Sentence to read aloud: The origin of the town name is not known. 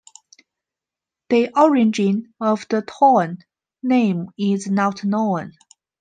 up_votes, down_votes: 0, 2